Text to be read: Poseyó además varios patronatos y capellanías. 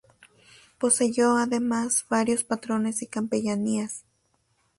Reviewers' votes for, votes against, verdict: 1, 2, rejected